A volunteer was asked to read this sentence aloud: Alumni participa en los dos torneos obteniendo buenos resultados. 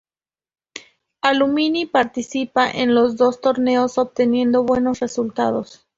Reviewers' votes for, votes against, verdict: 2, 0, accepted